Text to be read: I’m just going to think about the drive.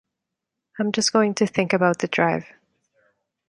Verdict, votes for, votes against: accepted, 2, 0